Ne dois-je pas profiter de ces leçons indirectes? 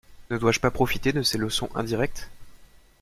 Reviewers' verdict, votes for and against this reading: accepted, 2, 0